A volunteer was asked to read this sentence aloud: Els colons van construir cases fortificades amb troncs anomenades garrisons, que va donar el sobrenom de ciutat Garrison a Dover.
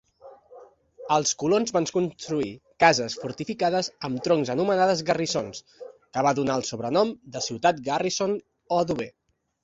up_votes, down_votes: 1, 2